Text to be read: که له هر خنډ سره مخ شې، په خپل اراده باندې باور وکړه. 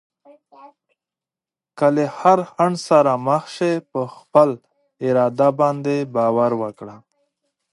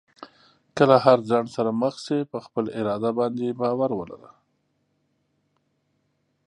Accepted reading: first